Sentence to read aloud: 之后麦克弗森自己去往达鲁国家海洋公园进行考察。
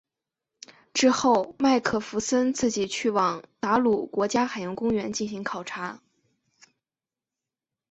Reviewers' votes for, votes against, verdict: 3, 0, accepted